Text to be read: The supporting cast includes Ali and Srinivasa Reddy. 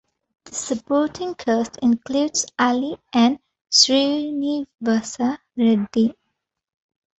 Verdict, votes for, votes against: rejected, 0, 2